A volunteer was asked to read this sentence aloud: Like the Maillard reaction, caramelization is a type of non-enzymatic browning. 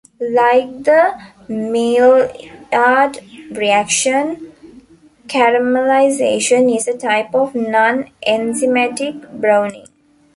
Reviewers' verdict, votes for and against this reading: rejected, 0, 2